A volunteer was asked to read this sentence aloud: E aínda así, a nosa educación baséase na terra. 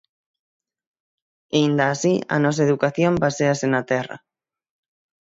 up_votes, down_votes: 6, 0